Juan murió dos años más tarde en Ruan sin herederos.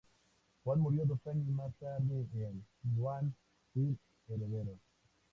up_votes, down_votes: 2, 0